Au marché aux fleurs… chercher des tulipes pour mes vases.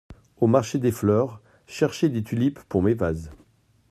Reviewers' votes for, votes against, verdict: 0, 2, rejected